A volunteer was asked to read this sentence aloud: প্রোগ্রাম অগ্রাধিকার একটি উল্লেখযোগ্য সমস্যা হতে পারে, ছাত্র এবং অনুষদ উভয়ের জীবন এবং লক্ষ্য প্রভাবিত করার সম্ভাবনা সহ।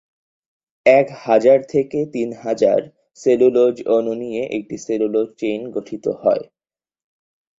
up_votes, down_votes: 0, 4